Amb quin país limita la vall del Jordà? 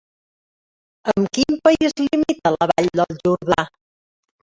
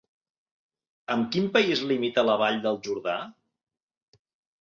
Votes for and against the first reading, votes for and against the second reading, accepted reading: 0, 2, 4, 0, second